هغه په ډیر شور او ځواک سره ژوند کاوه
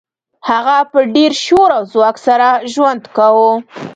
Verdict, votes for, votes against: rejected, 1, 2